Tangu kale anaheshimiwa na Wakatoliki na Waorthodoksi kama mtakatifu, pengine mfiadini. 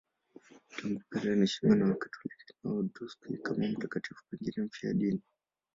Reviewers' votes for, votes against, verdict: 0, 11, rejected